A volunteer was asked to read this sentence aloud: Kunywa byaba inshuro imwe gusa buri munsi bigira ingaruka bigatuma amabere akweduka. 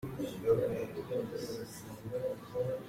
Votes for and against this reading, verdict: 0, 2, rejected